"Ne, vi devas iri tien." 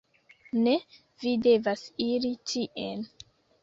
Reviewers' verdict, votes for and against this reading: accepted, 2, 0